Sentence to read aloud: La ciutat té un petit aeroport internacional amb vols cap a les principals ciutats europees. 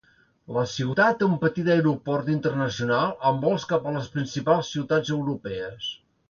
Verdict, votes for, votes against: accepted, 2, 0